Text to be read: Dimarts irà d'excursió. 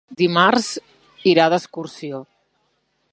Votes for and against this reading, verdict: 3, 0, accepted